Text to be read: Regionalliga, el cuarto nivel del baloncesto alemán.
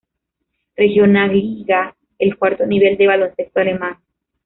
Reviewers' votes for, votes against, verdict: 1, 2, rejected